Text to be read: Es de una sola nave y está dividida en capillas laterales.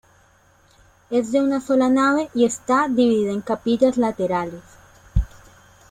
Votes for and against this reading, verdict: 2, 0, accepted